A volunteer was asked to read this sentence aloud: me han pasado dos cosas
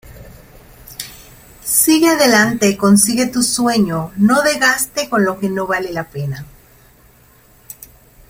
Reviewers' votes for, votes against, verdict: 0, 2, rejected